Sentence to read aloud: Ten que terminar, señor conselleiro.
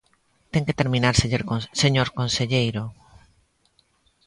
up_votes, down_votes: 0, 2